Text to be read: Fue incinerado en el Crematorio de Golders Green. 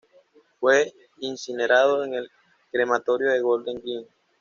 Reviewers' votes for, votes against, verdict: 1, 2, rejected